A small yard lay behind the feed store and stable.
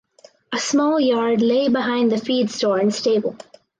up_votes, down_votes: 2, 0